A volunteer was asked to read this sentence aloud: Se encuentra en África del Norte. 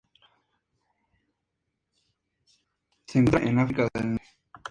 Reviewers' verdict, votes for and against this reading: rejected, 0, 2